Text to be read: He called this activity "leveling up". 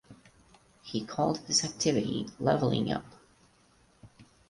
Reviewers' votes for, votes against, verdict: 2, 4, rejected